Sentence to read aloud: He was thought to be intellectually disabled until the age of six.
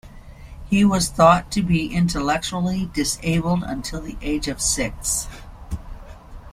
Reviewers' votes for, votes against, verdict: 2, 0, accepted